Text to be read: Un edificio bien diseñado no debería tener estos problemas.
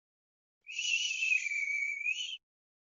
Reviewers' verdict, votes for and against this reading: rejected, 0, 2